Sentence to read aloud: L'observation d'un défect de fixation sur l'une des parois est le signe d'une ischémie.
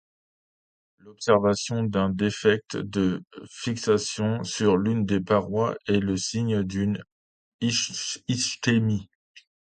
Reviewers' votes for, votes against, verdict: 0, 2, rejected